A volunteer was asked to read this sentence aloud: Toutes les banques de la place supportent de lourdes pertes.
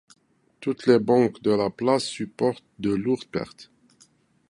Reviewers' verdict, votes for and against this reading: accepted, 2, 1